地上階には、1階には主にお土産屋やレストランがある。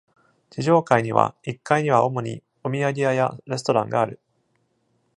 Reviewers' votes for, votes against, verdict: 0, 2, rejected